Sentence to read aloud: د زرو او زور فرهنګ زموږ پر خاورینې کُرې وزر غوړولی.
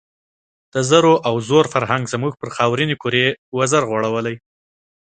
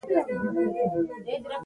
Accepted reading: first